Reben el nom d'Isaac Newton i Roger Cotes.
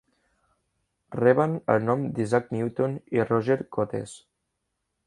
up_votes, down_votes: 1, 2